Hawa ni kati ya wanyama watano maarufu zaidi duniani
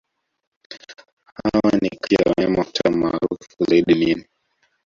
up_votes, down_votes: 1, 2